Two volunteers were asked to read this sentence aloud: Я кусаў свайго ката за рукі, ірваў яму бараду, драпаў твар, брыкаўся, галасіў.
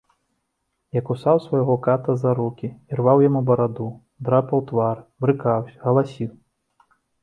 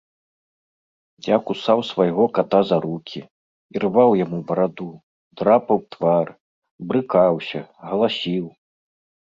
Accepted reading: first